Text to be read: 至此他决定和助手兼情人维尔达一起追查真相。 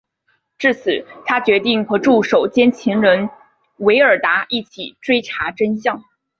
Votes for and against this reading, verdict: 2, 0, accepted